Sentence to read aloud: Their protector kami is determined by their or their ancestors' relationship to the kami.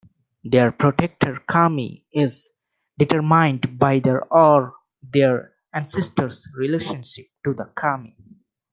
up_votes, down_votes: 2, 0